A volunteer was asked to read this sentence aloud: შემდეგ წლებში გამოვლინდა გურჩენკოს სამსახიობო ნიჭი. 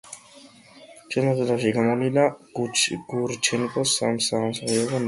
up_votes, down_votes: 0, 2